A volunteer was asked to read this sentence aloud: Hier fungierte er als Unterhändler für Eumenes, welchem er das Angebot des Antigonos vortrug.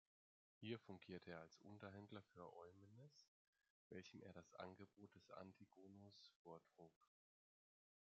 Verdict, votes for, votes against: rejected, 1, 2